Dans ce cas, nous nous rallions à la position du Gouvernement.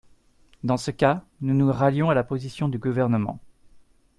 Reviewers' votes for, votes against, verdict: 2, 0, accepted